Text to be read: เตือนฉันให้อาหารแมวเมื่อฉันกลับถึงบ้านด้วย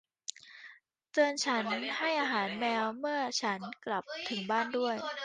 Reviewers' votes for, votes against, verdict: 1, 2, rejected